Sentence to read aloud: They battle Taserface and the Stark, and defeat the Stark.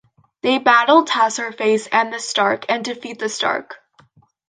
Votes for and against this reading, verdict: 2, 1, accepted